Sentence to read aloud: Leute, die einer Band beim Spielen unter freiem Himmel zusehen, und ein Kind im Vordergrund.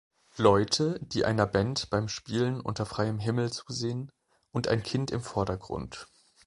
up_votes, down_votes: 2, 0